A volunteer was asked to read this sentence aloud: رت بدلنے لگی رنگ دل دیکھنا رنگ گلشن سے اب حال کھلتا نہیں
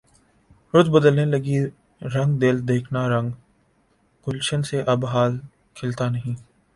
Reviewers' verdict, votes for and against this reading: accepted, 2, 0